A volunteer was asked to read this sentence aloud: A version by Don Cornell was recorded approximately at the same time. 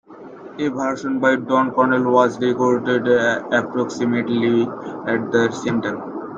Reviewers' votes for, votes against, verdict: 2, 0, accepted